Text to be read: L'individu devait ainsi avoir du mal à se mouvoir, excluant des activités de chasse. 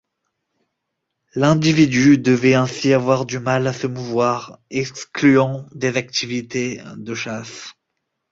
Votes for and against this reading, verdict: 2, 0, accepted